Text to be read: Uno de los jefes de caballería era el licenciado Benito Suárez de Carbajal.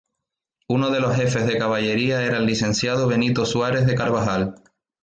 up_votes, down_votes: 2, 0